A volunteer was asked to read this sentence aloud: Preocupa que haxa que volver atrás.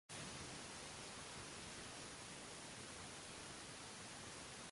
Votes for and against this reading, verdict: 0, 2, rejected